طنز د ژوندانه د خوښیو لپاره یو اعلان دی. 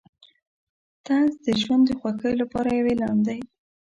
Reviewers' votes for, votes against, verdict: 1, 2, rejected